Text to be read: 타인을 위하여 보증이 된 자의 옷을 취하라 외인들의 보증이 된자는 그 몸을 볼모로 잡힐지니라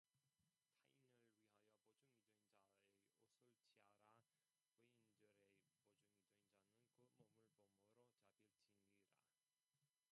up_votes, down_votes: 0, 2